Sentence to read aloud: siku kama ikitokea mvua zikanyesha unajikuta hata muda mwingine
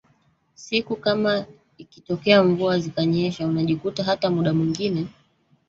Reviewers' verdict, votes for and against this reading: rejected, 1, 2